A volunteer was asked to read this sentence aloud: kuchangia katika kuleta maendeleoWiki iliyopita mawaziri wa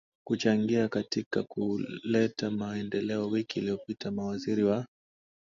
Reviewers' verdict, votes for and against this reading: accepted, 2, 0